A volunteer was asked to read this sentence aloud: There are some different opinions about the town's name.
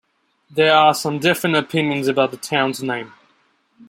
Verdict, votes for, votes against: rejected, 0, 2